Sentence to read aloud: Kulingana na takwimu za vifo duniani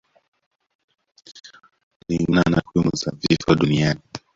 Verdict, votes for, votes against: rejected, 0, 2